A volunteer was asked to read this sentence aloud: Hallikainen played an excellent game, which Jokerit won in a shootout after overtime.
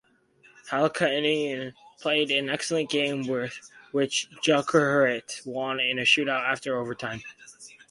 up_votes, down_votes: 0, 4